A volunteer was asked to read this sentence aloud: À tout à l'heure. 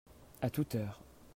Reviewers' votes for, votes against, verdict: 0, 2, rejected